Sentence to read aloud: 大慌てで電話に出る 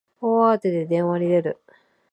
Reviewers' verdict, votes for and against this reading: rejected, 0, 2